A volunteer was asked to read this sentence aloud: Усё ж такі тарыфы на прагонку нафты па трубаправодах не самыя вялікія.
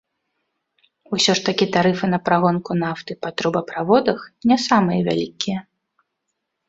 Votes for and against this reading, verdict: 2, 0, accepted